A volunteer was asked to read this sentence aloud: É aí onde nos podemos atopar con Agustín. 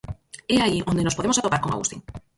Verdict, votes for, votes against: rejected, 0, 4